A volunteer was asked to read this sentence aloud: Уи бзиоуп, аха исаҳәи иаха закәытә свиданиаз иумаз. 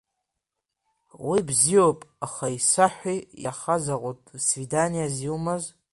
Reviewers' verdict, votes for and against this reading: rejected, 1, 2